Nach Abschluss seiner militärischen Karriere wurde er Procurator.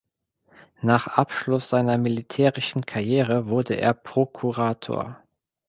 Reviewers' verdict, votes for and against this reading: accepted, 2, 0